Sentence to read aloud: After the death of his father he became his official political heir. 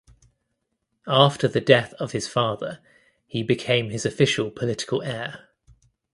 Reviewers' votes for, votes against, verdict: 2, 0, accepted